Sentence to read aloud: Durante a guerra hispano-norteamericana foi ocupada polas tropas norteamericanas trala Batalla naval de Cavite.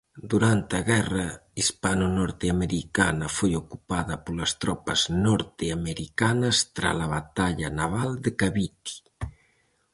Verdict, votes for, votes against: accepted, 4, 0